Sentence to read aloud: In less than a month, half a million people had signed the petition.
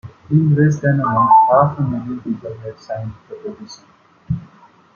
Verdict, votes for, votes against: accepted, 2, 1